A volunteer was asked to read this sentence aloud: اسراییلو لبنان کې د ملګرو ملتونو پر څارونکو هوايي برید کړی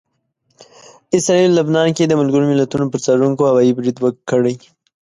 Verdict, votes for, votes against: accepted, 2, 0